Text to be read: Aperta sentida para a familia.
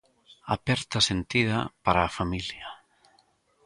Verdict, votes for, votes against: accepted, 2, 0